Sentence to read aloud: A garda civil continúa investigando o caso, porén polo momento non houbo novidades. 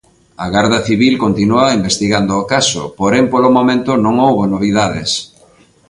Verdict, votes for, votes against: accepted, 2, 1